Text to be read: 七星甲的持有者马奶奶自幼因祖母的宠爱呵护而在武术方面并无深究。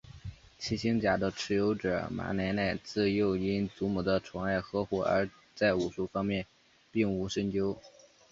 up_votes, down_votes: 2, 1